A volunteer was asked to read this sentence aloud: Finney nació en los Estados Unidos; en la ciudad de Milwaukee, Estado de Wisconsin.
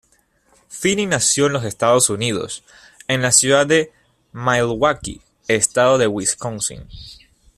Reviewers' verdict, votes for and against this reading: accepted, 2, 0